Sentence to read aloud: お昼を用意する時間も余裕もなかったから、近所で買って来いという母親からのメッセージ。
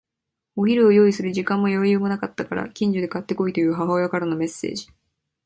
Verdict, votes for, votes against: accepted, 2, 1